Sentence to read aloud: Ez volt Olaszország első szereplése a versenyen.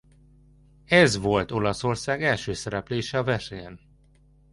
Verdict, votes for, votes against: accepted, 2, 0